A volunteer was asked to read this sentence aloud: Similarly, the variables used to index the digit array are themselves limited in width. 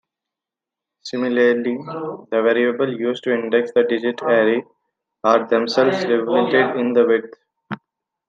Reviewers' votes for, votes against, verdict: 0, 2, rejected